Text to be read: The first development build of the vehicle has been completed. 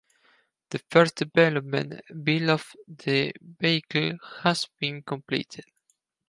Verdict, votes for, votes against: rejected, 2, 4